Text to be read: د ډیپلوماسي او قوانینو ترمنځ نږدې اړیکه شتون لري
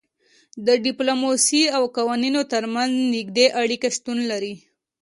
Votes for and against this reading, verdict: 2, 0, accepted